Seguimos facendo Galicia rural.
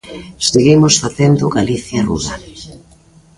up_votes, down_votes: 1, 2